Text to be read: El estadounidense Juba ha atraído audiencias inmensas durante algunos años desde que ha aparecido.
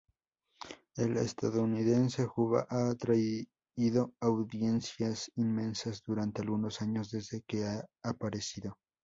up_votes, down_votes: 0, 2